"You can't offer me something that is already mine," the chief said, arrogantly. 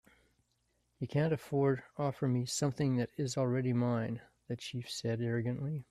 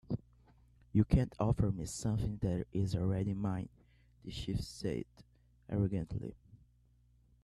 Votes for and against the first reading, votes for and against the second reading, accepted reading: 1, 2, 3, 0, second